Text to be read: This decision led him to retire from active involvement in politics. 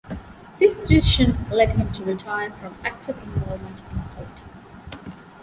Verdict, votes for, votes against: rejected, 1, 2